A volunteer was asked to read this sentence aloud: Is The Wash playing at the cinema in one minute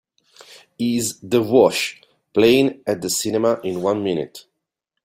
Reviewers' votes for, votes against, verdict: 3, 0, accepted